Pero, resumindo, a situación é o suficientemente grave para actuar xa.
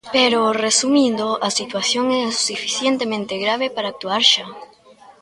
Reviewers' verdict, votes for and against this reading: accepted, 2, 0